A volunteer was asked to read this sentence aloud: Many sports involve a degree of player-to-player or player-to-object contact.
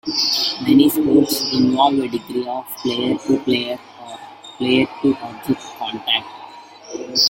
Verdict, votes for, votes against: rejected, 1, 2